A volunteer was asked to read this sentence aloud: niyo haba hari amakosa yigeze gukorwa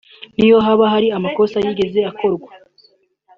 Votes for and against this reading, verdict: 0, 2, rejected